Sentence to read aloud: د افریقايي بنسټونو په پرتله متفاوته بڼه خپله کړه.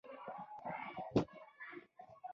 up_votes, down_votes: 1, 2